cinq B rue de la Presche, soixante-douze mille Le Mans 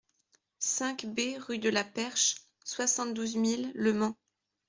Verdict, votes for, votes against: rejected, 0, 2